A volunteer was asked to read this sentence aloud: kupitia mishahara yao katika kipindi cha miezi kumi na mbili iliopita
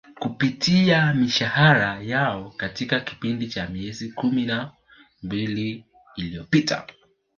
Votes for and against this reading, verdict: 2, 0, accepted